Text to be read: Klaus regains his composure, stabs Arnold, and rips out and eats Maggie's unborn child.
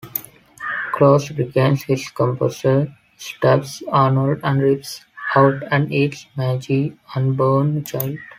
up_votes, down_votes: 1, 2